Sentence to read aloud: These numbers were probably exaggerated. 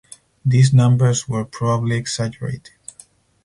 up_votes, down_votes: 0, 4